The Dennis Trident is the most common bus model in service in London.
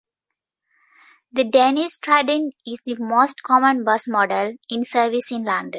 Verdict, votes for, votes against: accepted, 2, 1